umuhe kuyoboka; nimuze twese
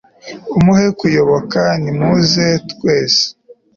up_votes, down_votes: 2, 0